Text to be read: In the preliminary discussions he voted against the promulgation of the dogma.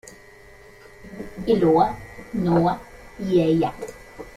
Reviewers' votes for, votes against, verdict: 0, 2, rejected